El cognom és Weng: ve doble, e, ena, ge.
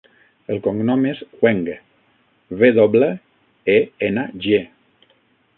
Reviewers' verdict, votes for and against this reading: rejected, 0, 6